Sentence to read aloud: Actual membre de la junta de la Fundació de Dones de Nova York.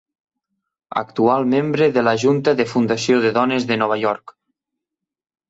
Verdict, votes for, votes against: rejected, 1, 2